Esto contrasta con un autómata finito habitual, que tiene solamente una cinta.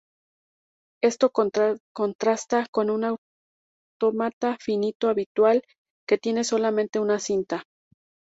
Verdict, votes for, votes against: rejected, 0, 2